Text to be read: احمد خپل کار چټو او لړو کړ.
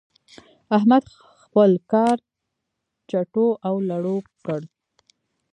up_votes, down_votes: 0, 2